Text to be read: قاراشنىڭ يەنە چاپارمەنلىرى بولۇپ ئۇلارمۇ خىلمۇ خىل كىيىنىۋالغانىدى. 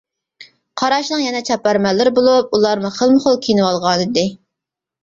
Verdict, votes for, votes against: accepted, 2, 0